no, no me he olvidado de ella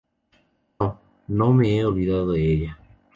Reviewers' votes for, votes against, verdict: 4, 0, accepted